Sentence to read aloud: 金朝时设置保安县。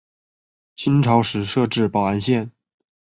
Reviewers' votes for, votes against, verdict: 4, 1, accepted